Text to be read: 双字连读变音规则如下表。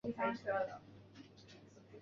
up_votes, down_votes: 0, 2